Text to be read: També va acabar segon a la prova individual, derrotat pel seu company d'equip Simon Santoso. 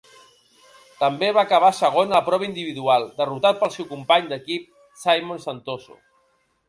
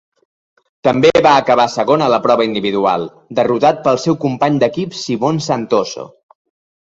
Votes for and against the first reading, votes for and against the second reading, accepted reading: 0, 2, 2, 0, second